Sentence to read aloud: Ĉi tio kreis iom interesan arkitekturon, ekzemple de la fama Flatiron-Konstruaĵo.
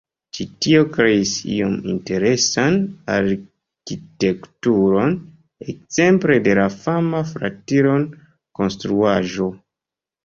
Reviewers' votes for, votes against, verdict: 1, 2, rejected